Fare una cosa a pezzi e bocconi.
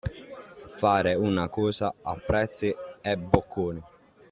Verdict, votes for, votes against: rejected, 0, 2